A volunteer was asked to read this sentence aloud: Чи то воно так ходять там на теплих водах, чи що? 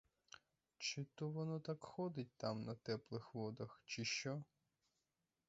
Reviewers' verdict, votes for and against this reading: rejected, 0, 4